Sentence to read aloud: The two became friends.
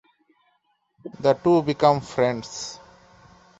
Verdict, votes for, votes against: rejected, 0, 2